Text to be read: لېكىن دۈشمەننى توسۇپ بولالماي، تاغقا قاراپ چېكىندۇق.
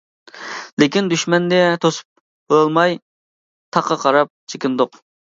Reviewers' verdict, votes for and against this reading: rejected, 0, 2